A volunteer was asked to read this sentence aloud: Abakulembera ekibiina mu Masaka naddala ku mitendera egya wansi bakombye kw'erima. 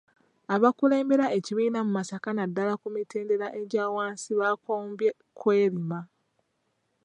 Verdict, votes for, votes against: rejected, 0, 2